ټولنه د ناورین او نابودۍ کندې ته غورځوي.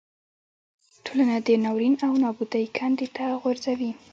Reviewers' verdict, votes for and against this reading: rejected, 1, 2